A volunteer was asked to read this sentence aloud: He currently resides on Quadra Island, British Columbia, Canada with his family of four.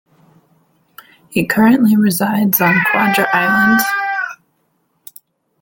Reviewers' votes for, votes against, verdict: 0, 2, rejected